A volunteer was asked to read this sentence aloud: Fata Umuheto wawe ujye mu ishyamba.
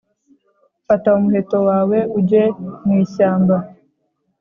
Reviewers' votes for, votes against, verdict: 2, 0, accepted